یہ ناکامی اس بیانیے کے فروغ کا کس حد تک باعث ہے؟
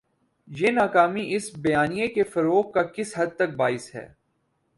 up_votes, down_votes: 4, 0